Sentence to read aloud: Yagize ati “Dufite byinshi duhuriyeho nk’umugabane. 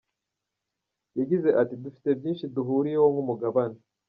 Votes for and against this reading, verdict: 0, 2, rejected